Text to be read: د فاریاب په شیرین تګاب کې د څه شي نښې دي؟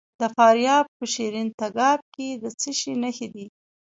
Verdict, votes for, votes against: accepted, 2, 0